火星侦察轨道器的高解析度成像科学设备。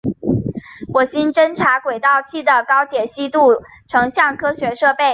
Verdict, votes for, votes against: accepted, 2, 0